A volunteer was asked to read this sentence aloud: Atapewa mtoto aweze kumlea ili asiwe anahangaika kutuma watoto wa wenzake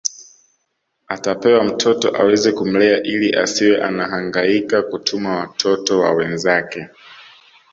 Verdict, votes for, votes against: accepted, 2, 0